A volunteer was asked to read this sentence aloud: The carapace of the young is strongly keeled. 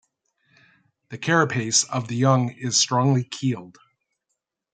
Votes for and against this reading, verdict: 2, 0, accepted